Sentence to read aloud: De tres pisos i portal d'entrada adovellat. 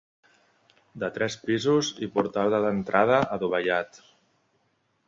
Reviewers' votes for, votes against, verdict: 1, 2, rejected